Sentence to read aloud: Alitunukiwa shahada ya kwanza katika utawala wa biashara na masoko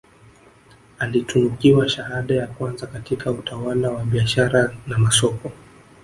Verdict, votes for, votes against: accepted, 2, 0